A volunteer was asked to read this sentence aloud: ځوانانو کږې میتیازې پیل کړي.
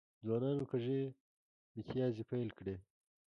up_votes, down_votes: 1, 2